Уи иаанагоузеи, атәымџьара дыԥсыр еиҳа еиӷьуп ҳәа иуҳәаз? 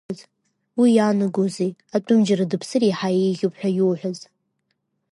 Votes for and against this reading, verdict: 2, 0, accepted